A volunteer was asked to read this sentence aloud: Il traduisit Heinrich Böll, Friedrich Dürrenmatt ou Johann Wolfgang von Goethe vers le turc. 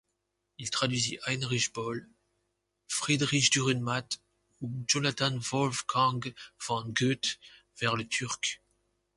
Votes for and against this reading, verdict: 1, 2, rejected